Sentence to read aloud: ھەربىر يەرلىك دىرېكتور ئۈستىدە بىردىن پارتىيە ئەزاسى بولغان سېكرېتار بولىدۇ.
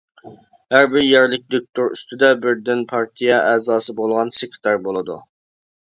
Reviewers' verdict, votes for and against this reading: rejected, 0, 2